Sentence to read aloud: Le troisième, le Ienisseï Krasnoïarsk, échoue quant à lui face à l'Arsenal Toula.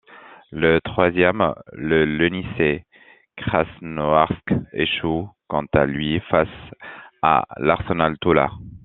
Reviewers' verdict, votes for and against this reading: rejected, 1, 2